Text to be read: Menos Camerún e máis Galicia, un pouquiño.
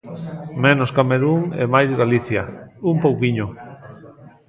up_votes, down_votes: 0, 2